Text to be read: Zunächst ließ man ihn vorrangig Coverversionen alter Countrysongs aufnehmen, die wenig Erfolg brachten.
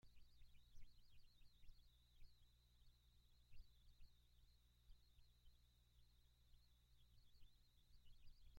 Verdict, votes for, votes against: rejected, 0, 2